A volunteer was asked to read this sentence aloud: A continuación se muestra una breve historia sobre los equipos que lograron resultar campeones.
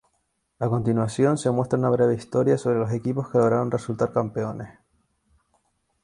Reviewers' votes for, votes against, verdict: 2, 2, rejected